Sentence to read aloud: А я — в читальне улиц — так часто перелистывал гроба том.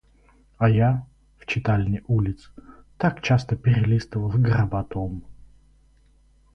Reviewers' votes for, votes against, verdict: 2, 4, rejected